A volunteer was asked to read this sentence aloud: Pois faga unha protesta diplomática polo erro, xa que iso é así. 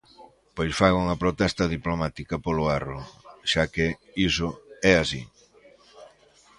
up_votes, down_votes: 3, 0